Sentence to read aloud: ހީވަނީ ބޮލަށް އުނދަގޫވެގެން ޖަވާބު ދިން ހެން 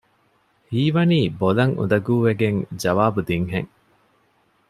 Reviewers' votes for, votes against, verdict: 2, 0, accepted